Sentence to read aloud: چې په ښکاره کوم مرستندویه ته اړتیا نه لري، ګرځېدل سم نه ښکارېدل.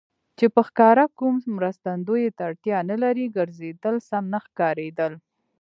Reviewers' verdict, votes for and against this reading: accepted, 2, 0